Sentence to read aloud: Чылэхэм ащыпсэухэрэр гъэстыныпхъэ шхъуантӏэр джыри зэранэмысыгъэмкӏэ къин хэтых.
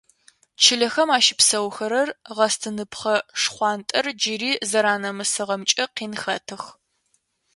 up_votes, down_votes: 2, 0